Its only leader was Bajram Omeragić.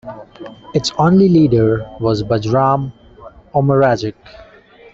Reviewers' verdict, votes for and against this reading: accepted, 2, 0